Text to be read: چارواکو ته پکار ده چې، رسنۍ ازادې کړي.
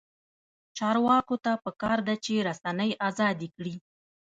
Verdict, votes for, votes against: rejected, 0, 2